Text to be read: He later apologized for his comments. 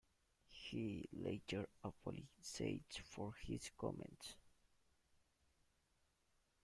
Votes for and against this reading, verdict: 0, 2, rejected